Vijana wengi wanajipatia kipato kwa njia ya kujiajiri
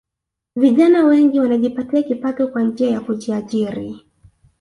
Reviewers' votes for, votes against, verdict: 0, 2, rejected